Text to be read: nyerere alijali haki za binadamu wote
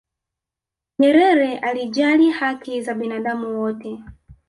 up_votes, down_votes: 2, 0